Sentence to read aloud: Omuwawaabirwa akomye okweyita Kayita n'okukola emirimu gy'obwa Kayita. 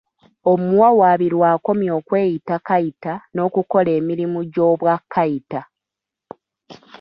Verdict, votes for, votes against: accepted, 3, 0